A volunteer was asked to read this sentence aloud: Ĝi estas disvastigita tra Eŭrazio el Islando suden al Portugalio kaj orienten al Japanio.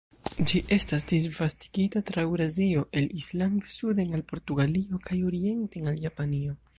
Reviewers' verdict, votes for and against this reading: rejected, 0, 2